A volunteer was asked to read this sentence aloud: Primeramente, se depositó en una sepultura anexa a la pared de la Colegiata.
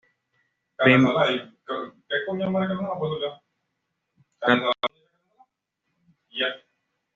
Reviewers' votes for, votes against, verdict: 1, 2, rejected